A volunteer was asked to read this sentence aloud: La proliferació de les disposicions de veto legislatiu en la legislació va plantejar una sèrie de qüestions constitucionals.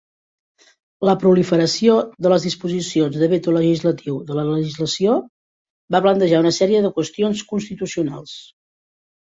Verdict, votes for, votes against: rejected, 0, 2